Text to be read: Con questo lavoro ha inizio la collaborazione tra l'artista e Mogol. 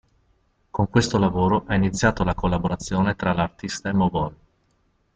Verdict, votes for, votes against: rejected, 0, 2